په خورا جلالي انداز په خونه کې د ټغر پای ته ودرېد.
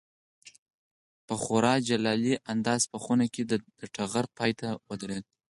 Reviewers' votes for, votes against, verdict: 4, 0, accepted